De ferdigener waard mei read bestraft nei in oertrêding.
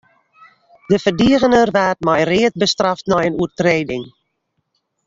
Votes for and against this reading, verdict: 2, 0, accepted